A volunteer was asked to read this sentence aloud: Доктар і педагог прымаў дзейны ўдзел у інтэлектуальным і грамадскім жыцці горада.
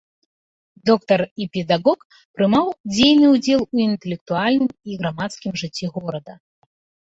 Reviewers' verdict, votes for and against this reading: rejected, 1, 2